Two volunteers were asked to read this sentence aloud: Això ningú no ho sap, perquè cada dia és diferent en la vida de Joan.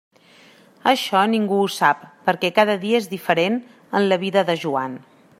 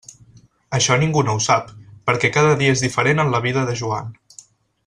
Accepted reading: second